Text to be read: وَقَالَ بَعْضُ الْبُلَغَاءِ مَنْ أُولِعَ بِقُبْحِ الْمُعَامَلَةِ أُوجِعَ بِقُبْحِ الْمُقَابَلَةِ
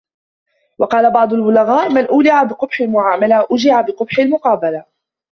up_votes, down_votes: 0, 2